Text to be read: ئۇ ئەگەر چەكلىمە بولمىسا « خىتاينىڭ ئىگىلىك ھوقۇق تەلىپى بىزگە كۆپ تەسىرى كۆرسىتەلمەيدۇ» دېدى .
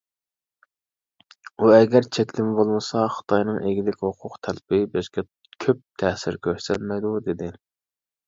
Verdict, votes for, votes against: rejected, 1, 2